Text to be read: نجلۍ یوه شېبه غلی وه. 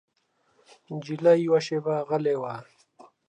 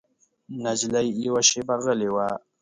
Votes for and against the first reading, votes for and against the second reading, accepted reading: 1, 2, 2, 0, second